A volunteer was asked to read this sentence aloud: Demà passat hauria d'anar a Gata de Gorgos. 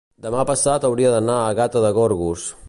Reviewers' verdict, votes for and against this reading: accepted, 2, 0